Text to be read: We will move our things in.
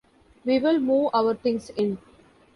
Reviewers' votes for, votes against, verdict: 2, 0, accepted